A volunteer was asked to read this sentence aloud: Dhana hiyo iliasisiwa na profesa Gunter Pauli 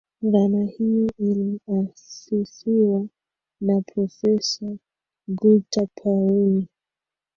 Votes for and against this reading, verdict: 2, 0, accepted